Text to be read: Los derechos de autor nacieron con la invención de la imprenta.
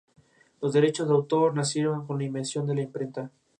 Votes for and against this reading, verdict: 2, 2, rejected